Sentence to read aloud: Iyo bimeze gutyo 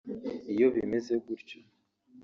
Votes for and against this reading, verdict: 1, 2, rejected